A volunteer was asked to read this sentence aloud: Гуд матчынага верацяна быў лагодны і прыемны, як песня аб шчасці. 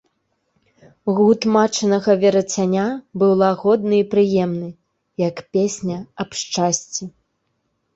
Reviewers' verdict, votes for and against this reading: rejected, 0, 2